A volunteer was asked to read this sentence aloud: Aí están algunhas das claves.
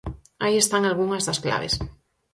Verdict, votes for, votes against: accepted, 6, 0